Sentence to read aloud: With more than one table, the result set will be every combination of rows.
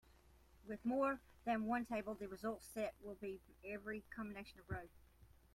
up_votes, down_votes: 2, 1